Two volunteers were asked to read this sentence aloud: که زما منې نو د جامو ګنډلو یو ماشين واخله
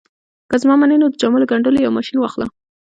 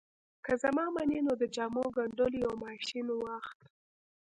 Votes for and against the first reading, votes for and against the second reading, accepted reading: 2, 0, 1, 2, first